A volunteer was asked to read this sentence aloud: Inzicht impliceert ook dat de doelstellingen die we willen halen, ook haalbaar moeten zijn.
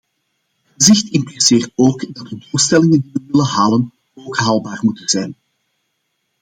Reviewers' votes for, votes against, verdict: 0, 2, rejected